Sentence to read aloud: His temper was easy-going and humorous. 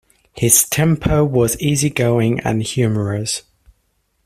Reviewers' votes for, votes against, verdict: 2, 0, accepted